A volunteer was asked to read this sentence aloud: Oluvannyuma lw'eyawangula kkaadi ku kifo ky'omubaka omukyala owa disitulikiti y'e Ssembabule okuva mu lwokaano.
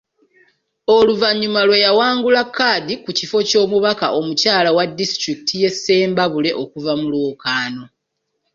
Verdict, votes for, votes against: rejected, 1, 2